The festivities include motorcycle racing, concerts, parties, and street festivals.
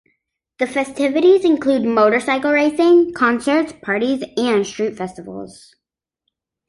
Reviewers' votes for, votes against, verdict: 2, 0, accepted